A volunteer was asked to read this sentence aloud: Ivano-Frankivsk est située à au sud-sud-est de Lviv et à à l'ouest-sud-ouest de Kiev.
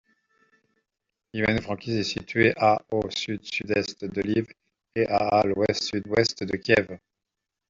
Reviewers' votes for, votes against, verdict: 0, 2, rejected